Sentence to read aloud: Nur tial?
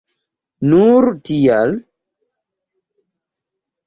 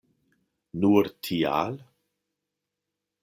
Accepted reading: second